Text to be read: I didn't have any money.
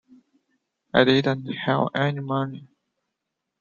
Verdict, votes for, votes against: rejected, 1, 2